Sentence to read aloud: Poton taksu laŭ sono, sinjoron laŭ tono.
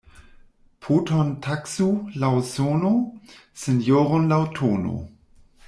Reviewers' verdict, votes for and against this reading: rejected, 1, 2